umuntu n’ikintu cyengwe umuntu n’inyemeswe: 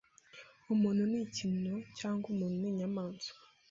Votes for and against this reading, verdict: 0, 2, rejected